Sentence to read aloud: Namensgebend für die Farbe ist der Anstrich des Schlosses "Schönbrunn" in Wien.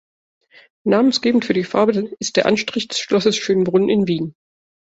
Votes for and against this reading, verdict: 1, 2, rejected